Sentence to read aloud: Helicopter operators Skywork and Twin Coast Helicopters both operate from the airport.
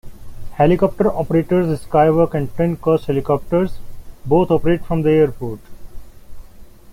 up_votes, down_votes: 0, 2